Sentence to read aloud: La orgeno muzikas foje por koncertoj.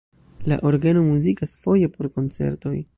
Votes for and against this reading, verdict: 1, 2, rejected